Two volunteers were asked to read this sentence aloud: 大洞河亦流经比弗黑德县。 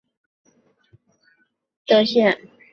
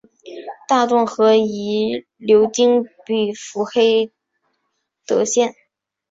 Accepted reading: second